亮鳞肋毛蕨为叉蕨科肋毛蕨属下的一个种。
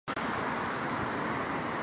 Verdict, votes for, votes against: rejected, 1, 8